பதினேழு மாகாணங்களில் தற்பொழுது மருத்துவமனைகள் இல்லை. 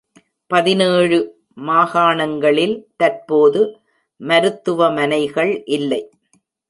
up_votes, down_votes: 1, 2